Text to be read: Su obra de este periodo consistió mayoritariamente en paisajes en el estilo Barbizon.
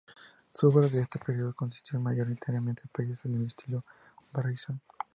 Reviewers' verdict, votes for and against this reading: rejected, 0, 2